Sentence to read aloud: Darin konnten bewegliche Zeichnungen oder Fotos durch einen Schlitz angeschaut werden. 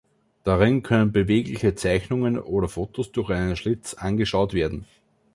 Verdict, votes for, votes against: rejected, 2, 3